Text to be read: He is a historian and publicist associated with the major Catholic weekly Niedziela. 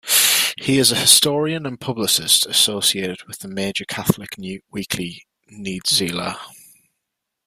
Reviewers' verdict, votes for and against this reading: rejected, 1, 2